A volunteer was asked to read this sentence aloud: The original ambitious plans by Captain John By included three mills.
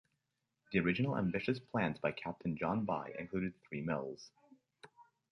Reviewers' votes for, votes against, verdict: 2, 0, accepted